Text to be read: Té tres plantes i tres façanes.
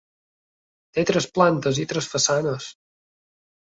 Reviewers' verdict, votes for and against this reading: accepted, 3, 0